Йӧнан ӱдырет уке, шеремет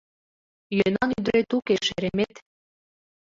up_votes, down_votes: 2, 1